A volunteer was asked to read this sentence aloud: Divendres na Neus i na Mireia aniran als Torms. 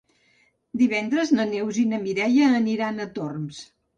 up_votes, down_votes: 0, 2